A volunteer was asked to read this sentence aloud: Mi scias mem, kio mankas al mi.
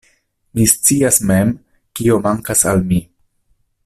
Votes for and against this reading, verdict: 2, 0, accepted